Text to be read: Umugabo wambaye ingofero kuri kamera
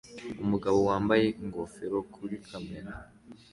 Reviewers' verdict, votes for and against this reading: accepted, 2, 1